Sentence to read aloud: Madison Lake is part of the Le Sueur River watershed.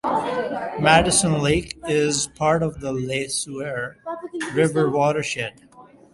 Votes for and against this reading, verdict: 2, 0, accepted